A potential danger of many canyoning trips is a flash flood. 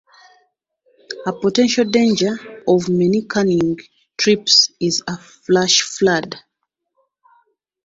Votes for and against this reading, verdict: 1, 2, rejected